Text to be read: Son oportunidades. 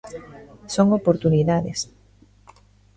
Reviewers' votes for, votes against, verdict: 0, 2, rejected